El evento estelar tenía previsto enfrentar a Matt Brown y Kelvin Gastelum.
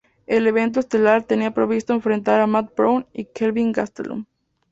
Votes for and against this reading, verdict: 0, 2, rejected